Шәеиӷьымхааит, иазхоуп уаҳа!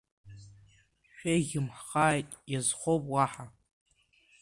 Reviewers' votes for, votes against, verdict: 2, 1, accepted